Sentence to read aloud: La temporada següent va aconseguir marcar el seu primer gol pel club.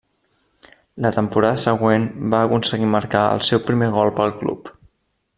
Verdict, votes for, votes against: accepted, 3, 1